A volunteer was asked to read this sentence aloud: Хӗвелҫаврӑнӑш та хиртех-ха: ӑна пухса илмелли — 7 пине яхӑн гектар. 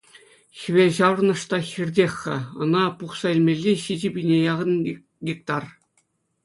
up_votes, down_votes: 0, 2